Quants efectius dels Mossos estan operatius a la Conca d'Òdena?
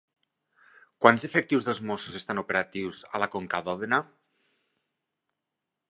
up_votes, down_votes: 3, 0